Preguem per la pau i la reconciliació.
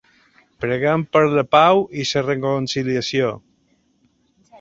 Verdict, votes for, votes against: rejected, 1, 2